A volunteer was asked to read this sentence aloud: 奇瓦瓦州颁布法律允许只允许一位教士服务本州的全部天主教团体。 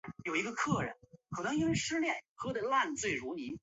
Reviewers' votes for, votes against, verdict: 0, 3, rejected